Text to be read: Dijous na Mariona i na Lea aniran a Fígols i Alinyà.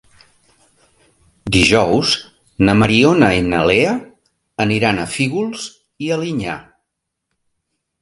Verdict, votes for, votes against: accepted, 4, 0